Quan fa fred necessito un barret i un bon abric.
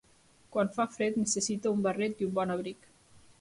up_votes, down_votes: 2, 1